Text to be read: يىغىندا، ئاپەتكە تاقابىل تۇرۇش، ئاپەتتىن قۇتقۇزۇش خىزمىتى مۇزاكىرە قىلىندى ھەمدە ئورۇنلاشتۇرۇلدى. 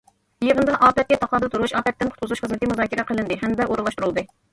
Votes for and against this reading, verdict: 0, 2, rejected